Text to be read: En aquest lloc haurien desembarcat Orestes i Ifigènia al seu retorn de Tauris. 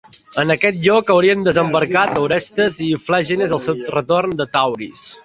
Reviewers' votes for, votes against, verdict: 1, 2, rejected